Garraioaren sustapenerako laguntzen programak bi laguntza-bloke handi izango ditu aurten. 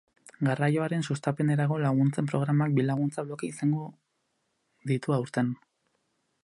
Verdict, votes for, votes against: rejected, 0, 2